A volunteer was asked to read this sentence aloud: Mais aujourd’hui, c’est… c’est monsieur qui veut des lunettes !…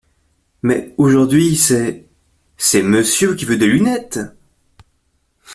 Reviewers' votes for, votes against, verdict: 2, 0, accepted